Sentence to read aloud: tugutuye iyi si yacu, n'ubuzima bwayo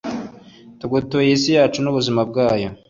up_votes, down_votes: 2, 0